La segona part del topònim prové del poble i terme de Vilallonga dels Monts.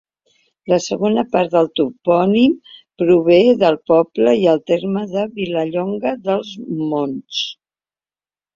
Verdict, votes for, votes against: rejected, 0, 2